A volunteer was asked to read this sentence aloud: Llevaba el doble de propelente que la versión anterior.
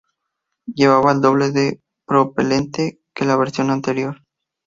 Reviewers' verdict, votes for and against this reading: accepted, 2, 0